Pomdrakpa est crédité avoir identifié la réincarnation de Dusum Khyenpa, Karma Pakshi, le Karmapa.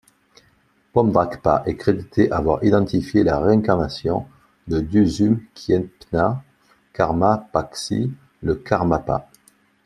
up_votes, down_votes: 1, 2